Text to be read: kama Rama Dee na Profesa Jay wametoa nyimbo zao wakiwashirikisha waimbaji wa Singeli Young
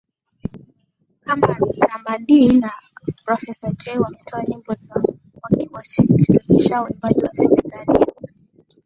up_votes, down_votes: 1, 2